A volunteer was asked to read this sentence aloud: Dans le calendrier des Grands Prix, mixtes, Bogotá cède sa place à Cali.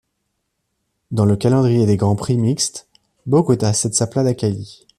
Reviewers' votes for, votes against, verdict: 0, 2, rejected